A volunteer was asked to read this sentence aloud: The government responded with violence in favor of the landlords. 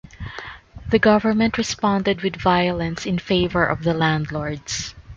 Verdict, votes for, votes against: accepted, 2, 0